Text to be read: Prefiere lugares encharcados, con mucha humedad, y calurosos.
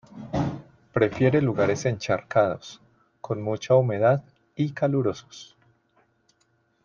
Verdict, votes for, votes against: rejected, 1, 2